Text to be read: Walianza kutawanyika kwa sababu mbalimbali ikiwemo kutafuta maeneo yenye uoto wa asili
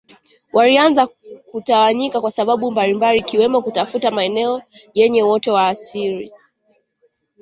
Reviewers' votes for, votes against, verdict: 2, 0, accepted